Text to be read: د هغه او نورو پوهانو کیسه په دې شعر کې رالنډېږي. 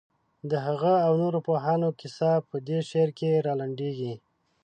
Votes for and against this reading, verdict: 2, 0, accepted